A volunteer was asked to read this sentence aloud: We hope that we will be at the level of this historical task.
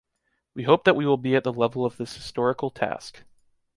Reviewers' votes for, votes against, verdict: 2, 0, accepted